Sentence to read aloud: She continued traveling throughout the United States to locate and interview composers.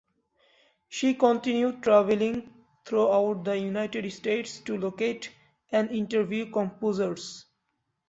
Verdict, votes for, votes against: accepted, 2, 0